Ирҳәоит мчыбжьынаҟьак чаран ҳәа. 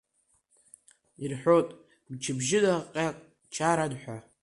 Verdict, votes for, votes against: accepted, 2, 0